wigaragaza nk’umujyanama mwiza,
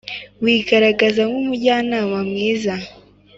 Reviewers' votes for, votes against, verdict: 3, 0, accepted